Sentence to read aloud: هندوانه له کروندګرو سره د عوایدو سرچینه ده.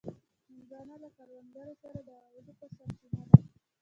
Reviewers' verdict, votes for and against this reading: accepted, 2, 1